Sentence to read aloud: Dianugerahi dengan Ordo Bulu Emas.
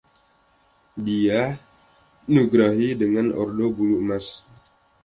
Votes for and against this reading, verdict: 1, 2, rejected